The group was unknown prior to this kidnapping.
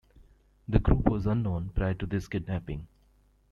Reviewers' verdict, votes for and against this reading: accepted, 2, 0